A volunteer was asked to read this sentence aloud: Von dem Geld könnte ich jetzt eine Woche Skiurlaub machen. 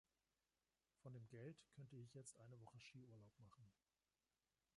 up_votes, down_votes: 2, 1